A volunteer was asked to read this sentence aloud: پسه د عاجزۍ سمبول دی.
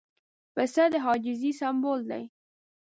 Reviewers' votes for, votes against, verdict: 2, 0, accepted